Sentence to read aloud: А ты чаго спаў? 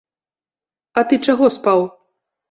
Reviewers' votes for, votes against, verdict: 2, 0, accepted